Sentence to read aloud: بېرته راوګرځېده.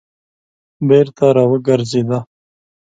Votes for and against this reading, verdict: 2, 0, accepted